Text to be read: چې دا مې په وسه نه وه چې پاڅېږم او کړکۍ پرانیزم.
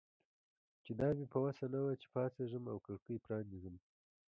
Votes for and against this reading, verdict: 2, 1, accepted